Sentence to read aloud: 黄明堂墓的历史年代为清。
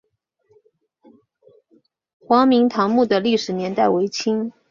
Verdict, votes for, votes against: accepted, 8, 0